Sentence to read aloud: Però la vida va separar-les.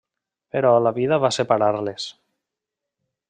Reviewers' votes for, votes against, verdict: 3, 0, accepted